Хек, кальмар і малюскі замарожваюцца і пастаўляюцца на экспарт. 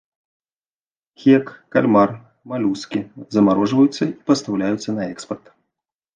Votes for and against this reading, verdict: 0, 2, rejected